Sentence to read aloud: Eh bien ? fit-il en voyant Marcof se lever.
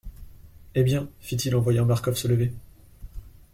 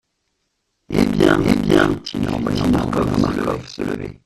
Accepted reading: first